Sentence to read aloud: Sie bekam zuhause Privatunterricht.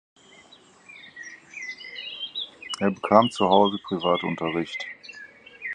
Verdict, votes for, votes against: rejected, 0, 4